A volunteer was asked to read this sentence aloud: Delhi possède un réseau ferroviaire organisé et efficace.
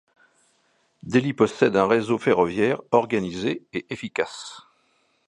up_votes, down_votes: 2, 0